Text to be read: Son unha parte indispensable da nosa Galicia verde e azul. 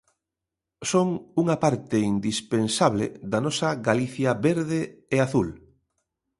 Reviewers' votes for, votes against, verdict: 2, 0, accepted